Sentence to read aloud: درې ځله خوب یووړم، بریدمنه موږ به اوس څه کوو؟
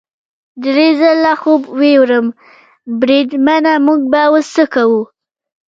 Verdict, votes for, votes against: rejected, 1, 2